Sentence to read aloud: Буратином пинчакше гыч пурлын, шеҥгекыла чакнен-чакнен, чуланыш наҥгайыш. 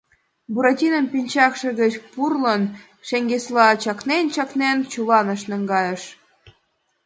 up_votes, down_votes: 3, 5